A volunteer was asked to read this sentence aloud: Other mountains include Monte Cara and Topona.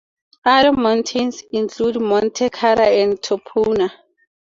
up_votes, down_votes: 0, 2